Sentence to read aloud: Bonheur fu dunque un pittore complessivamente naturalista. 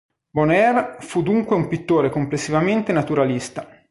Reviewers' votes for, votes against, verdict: 3, 0, accepted